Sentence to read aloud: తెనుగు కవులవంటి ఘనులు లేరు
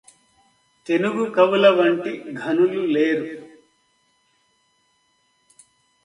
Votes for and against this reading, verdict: 2, 0, accepted